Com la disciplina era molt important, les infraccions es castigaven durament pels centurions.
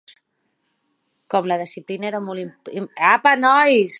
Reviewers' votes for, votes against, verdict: 0, 2, rejected